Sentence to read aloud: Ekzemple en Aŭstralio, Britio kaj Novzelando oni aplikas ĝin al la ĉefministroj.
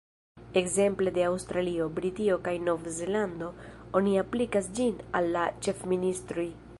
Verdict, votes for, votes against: accepted, 2, 0